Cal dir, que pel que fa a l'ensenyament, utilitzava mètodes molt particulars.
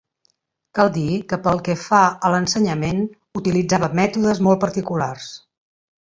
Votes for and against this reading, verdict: 5, 0, accepted